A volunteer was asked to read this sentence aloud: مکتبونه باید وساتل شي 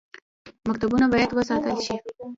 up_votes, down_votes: 1, 2